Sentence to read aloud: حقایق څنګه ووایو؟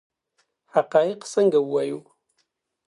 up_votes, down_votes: 2, 0